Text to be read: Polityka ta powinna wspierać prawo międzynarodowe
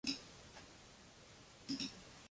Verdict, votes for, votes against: rejected, 0, 2